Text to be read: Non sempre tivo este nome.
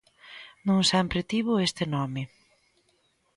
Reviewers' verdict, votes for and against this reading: accepted, 2, 0